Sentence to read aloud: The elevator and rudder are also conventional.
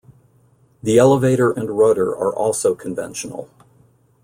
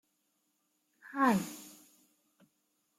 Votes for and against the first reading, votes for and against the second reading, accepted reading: 2, 0, 0, 2, first